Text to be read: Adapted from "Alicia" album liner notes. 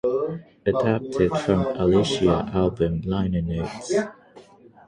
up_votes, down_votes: 3, 3